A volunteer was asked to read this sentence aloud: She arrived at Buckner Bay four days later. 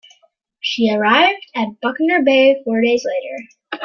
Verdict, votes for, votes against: accepted, 2, 0